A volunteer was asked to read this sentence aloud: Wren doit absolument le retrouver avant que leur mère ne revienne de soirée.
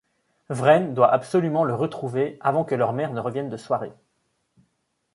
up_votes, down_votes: 2, 0